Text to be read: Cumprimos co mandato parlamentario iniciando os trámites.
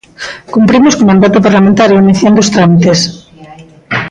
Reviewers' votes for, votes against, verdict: 0, 2, rejected